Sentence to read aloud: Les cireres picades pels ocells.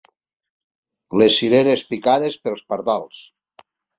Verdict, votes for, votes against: rejected, 0, 2